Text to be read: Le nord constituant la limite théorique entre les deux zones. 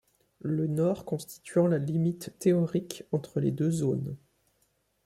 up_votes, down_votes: 2, 0